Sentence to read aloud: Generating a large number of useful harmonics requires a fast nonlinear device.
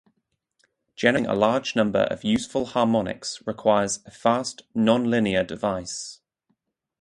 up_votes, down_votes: 0, 4